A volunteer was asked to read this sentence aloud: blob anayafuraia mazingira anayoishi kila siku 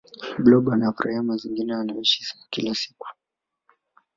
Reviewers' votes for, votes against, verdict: 2, 0, accepted